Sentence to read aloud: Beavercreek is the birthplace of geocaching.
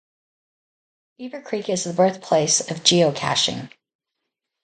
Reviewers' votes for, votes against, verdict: 2, 0, accepted